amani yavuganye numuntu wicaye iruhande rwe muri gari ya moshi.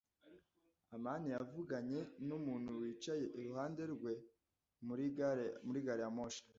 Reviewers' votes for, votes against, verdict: 0, 2, rejected